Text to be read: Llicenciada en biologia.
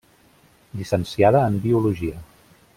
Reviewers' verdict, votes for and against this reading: accepted, 3, 0